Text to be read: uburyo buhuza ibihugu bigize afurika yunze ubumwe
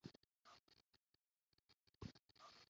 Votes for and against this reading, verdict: 0, 2, rejected